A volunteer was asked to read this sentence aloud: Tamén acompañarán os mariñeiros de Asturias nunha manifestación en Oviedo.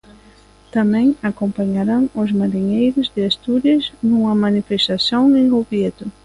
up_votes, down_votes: 0, 2